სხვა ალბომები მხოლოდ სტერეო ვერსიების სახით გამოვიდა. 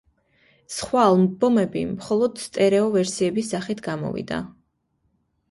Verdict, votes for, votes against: accepted, 2, 0